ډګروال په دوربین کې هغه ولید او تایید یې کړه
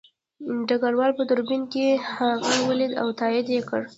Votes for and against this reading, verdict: 0, 2, rejected